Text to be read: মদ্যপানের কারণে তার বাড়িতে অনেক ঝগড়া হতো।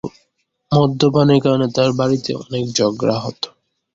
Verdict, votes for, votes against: rejected, 0, 2